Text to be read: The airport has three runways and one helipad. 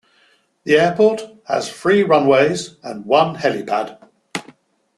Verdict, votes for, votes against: accepted, 2, 0